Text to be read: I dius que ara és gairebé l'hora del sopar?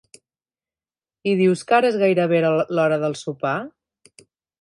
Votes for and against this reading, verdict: 1, 2, rejected